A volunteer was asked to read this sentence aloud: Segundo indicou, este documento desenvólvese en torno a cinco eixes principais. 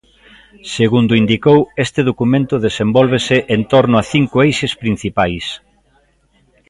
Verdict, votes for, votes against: accepted, 2, 0